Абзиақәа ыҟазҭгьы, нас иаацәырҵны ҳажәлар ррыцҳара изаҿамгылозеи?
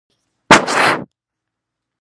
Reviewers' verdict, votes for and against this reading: rejected, 0, 2